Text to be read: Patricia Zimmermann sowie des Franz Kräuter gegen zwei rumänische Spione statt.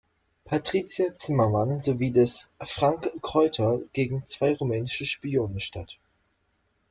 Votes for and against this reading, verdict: 0, 2, rejected